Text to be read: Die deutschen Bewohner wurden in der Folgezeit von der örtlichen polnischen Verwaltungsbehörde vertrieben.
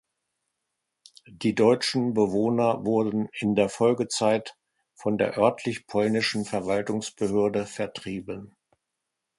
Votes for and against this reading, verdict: 0, 2, rejected